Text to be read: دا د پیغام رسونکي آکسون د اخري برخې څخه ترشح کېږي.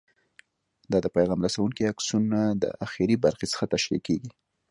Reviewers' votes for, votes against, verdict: 2, 0, accepted